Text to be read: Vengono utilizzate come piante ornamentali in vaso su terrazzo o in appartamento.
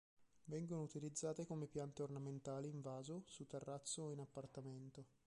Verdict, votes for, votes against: rejected, 0, 3